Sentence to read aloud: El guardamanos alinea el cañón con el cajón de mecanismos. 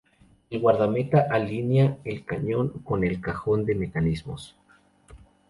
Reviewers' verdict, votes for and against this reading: rejected, 2, 2